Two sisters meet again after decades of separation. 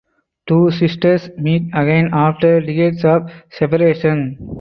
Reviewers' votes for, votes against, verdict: 2, 2, rejected